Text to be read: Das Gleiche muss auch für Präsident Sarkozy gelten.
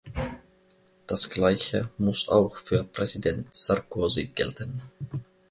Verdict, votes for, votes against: accepted, 2, 0